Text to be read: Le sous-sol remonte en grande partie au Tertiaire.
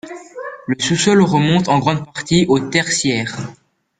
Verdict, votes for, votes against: rejected, 0, 2